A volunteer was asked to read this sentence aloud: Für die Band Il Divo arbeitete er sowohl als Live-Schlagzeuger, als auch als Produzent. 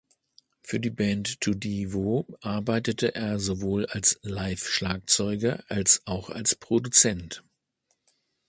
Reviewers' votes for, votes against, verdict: 0, 2, rejected